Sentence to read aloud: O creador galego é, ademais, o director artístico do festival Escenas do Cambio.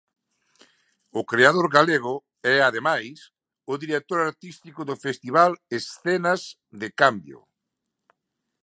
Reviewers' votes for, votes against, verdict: 0, 2, rejected